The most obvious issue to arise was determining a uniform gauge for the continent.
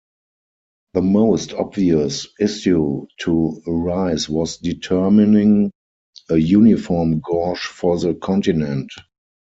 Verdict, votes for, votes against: rejected, 0, 4